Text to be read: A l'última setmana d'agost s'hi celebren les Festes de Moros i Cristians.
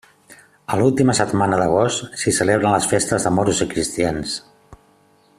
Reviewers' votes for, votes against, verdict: 3, 0, accepted